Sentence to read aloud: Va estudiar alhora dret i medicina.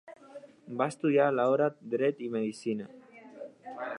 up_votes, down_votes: 1, 2